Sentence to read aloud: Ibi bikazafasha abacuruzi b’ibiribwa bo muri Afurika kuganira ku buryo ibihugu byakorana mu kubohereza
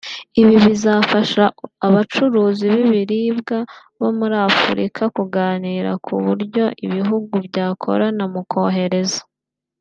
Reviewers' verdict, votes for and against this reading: rejected, 1, 2